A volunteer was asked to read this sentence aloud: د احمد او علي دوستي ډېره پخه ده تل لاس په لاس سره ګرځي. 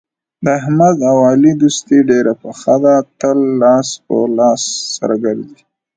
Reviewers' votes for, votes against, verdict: 2, 0, accepted